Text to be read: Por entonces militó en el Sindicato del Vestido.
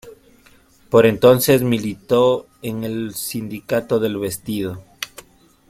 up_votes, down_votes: 2, 0